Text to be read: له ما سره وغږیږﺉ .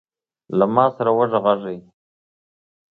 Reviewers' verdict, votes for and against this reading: accepted, 2, 0